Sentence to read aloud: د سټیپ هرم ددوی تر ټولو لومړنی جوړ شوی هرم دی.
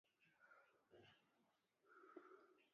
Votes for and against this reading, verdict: 0, 2, rejected